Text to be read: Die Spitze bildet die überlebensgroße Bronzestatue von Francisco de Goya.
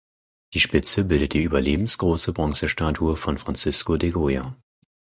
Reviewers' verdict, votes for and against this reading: accepted, 4, 0